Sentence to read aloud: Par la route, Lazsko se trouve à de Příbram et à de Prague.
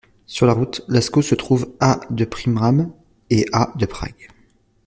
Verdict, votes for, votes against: rejected, 0, 2